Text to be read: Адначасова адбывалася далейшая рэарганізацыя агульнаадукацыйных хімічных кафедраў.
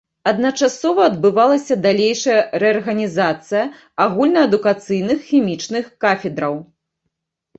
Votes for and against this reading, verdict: 2, 0, accepted